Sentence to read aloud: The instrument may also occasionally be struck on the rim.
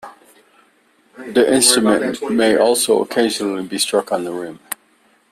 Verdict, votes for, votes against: accepted, 2, 1